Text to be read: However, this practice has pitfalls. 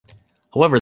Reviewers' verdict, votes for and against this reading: rejected, 0, 2